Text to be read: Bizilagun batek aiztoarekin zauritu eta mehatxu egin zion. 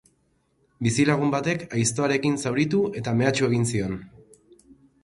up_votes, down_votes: 4, 0